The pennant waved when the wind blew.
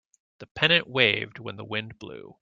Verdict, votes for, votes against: accepted, 2, 0